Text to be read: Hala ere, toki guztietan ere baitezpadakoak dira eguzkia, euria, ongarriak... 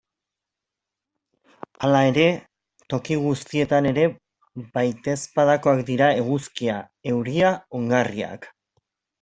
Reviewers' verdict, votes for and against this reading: accepted, 2, 0